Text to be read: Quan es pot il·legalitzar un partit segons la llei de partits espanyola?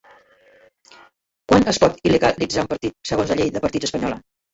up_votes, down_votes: 0, 2